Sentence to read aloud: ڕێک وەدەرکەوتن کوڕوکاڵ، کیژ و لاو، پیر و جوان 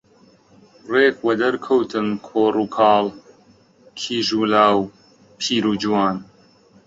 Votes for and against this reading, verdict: 1, 2, rejected